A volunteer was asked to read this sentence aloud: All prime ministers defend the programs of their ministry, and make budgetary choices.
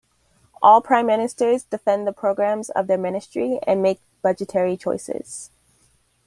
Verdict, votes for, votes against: accepted, 2, 0